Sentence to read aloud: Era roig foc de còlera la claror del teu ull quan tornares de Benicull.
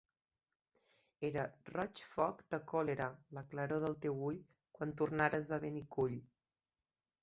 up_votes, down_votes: 2, 0